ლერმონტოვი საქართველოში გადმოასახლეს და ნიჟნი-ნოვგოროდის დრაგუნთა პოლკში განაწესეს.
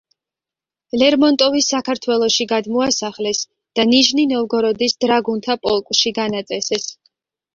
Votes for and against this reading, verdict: 2, 0, accepted